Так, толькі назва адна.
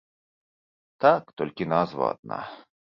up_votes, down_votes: 2, 0